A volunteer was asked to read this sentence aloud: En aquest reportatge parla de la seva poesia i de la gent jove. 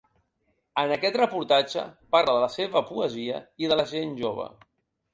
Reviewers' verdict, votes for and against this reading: accepted, 3, 0